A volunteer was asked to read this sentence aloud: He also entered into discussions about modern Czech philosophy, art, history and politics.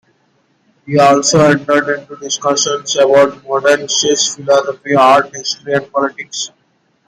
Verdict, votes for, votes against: rejected, 0, 3